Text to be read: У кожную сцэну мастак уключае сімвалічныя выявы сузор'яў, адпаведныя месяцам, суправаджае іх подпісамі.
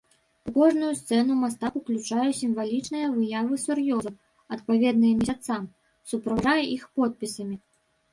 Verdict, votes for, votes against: rejected, 0, 2